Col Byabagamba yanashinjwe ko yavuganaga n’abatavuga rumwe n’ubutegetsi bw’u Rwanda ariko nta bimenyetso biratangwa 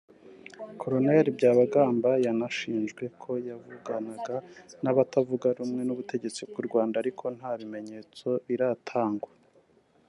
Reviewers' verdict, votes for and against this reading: accepted, 2, 0